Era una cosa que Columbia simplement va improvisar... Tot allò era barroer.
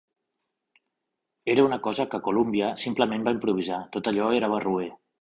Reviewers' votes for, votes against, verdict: 3, 0, accepted